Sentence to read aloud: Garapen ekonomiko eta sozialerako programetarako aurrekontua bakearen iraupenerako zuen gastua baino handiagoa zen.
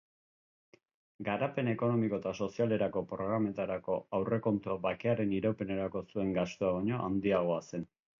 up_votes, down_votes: 2, 1